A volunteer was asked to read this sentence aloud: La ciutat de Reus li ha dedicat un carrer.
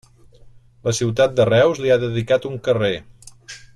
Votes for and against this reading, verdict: 3, 0, accepted